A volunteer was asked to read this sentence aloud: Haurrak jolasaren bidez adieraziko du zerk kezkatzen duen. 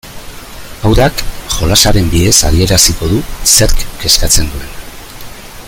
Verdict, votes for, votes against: rejected, 0, 2